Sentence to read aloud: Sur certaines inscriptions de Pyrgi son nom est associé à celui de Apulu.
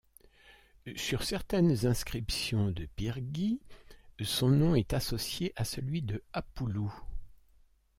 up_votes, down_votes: 2, 1